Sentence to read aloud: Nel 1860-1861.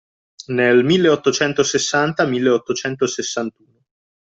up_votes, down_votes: 0, 2